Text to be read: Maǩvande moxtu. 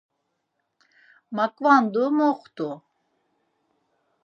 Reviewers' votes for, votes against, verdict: 0, 4, rejected